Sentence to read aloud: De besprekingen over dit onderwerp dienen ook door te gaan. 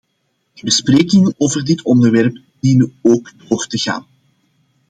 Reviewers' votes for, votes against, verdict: 2, 0, accepted